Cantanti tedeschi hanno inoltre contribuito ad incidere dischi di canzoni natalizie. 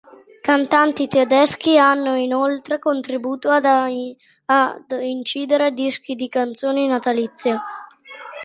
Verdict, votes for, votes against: rejected, 0, 2